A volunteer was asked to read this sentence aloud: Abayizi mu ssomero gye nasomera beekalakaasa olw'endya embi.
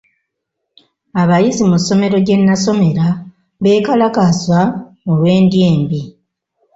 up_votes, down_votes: 2, 0